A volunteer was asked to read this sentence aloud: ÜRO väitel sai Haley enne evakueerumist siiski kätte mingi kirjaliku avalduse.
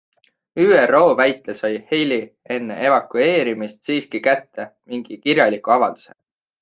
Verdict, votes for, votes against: accepted, 3, 0